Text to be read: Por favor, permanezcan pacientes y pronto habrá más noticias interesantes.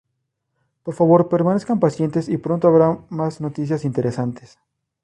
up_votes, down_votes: 0, 2